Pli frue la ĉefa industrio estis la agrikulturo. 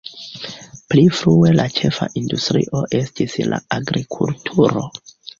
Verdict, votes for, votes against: accepted, 2, 0